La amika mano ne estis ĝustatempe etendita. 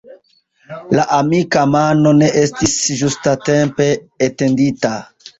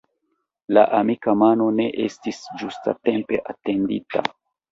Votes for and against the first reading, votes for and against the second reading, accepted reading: 2, 1, 1, 2, first